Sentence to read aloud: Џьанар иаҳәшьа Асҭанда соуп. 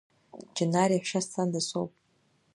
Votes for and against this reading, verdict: 1, 2, rejected